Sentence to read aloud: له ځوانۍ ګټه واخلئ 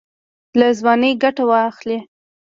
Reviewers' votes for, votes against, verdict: 0, 2, rejected